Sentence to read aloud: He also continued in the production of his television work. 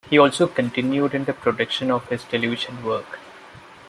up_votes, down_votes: 2, 0